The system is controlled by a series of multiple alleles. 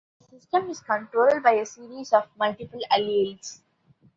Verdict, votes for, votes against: rejected, 1, 2